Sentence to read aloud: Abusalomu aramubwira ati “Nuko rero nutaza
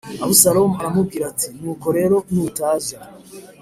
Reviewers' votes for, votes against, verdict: 3, 0, accepted